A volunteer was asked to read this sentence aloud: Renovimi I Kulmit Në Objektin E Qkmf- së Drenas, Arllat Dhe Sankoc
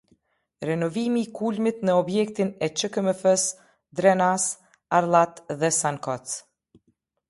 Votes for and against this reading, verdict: 1, 2, rejected